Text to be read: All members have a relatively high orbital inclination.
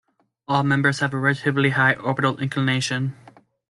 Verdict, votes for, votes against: accepted, 2, 1